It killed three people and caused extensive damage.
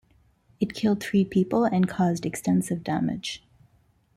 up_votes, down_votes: 1, 2